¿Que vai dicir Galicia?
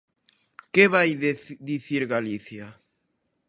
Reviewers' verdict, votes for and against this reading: rejected, 0, 2